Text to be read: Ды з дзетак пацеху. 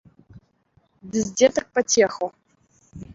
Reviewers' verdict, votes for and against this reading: accepted, 2, 0